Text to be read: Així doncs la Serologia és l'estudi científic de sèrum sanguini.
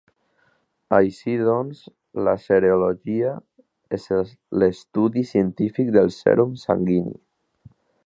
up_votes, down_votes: 2, 1